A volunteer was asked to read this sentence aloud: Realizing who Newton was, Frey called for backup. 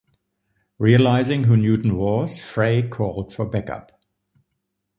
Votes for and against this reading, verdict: 2, 0, accepted